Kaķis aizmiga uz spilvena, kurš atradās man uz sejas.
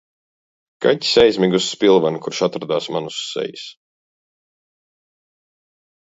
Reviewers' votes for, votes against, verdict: 2, 0, accepted